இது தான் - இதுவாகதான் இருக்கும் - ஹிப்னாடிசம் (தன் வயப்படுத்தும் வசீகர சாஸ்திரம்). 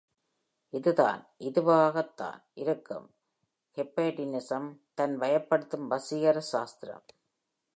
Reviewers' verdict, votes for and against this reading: accepted, 2, 0